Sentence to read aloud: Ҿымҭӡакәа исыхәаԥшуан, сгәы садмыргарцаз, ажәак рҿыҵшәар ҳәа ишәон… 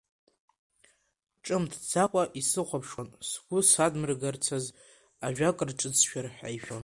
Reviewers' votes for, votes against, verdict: 2, 3, rejected